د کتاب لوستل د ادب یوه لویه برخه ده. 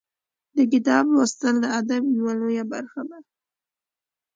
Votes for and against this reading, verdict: 2, 0, accepted